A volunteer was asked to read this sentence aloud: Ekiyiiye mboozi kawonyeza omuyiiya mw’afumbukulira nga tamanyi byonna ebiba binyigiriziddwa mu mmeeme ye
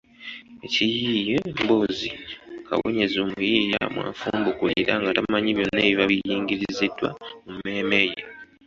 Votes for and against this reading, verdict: 2, 1, accepted